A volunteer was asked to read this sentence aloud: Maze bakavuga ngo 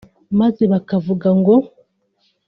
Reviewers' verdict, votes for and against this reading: accepted, 3, 0